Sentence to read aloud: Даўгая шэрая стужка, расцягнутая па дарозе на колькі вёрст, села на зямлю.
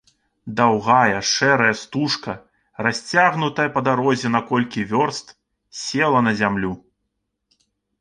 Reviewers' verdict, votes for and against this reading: accepted, 2, 0